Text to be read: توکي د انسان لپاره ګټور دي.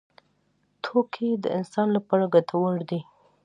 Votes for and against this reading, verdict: 2, 0, accepted